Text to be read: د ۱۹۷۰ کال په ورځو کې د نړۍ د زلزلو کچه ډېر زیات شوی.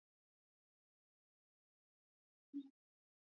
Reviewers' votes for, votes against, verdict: 0, 2, rejected